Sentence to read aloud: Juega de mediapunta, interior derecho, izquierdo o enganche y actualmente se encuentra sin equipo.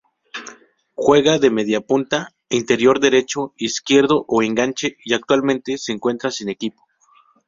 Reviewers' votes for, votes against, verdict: 4, 0, accepted